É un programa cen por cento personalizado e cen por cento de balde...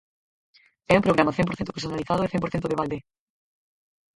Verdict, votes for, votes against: rejected, 0, 4